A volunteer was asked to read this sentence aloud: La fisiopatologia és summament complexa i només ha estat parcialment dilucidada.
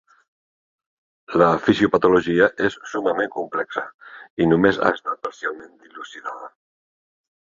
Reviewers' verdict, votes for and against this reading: rejected, 1, 2